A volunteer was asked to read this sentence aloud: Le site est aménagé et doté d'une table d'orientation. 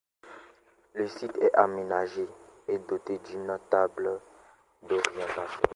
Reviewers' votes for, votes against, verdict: 2, 0, accepted